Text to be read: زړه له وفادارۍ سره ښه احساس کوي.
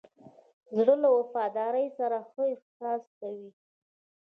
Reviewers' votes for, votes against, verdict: 1, 2, rejected